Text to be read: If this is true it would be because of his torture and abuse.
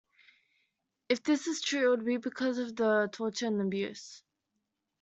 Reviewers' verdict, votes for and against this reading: accepted, 2, 0